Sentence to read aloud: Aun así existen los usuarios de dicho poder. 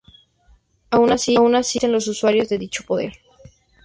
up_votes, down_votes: 0, 2